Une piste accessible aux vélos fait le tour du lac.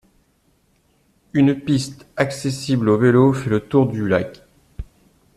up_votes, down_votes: 2, 0